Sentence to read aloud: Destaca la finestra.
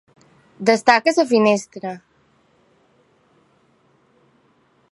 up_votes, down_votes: 1, 2